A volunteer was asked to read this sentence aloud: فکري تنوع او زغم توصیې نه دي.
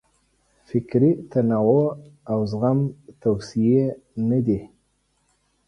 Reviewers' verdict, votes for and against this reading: accepted, 2, 0